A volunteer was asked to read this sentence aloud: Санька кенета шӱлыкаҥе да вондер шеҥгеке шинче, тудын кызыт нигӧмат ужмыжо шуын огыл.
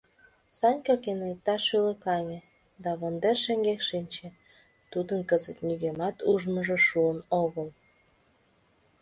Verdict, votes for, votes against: rejected, 2, 3